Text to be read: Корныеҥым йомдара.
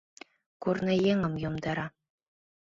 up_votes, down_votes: 2, 0